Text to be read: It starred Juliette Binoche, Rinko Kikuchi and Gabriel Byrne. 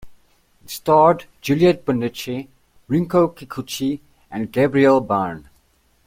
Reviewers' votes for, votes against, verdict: 1, 2, rejected